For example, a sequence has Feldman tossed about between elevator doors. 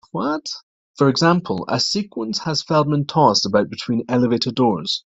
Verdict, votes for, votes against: rejected, 1, 2